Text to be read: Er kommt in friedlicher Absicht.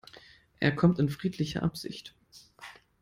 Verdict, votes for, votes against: accepted, 2, 0